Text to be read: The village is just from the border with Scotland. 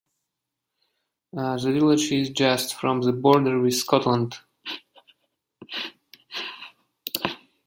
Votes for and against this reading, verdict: 1, 2, rejected